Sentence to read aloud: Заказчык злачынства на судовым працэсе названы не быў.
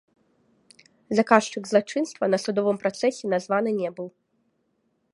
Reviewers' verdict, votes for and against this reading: rejected, 1, 2